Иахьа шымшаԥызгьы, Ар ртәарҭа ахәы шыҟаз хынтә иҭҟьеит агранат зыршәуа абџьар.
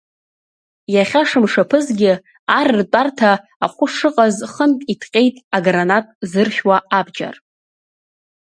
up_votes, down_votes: 2, 0